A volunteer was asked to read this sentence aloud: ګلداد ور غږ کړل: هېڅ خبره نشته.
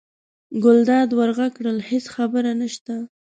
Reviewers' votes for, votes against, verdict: 2, 0, accepted